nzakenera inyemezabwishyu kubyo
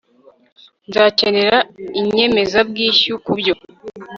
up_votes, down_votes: 2, 0